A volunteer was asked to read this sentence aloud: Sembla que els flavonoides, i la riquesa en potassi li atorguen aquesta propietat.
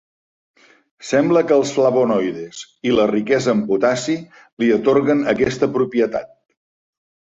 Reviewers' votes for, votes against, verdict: 2, 0, accepted